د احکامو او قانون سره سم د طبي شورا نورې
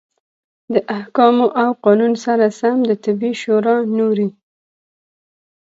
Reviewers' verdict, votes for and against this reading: accepted, 2, 0